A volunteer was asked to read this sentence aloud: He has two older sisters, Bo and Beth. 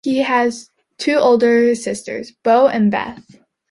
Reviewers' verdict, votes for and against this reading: accepted, 2, 0